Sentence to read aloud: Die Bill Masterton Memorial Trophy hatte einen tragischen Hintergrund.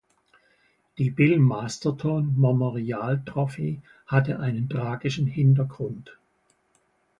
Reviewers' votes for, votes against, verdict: 1, 2, rejected